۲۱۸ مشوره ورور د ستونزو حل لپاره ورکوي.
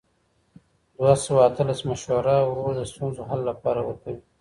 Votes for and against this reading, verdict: 0, 2, rejected